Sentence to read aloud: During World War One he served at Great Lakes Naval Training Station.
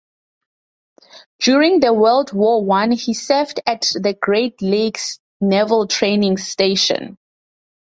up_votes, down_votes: 0, 4